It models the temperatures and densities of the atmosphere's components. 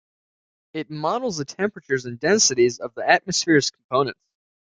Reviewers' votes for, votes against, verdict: 2, 1, accepted